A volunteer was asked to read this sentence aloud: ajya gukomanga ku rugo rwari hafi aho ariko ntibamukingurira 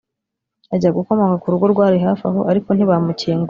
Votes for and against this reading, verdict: 0, 2, rejected